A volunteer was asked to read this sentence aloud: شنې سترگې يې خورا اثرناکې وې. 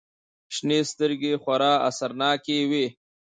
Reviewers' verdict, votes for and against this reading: rejected, 1, 2